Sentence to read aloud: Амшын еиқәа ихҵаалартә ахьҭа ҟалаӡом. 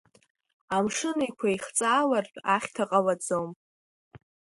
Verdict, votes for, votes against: accepted, 2, 1